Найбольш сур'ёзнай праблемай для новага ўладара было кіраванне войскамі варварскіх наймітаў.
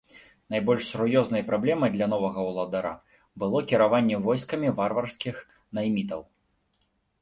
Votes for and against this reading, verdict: 3, 1, accepted